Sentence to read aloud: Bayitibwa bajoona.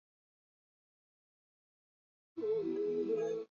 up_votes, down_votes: 0, 2